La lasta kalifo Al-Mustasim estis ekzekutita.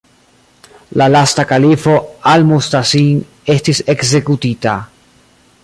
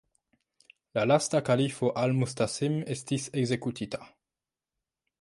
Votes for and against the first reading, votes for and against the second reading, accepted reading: 0, 2, 2, 0, second